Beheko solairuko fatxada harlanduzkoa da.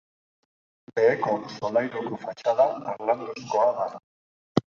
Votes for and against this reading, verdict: 2, 0, accepted